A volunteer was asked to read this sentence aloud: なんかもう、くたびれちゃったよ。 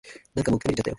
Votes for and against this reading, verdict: 1, 2, rejected